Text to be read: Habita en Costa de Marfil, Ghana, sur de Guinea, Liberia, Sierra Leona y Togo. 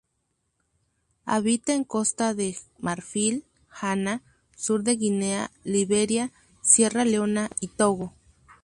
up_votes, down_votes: 2, 0